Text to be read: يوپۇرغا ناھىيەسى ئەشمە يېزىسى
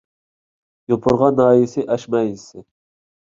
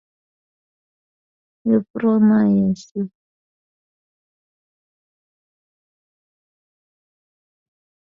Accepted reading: first